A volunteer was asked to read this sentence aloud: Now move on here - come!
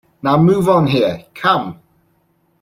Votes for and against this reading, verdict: 2, 0, accepted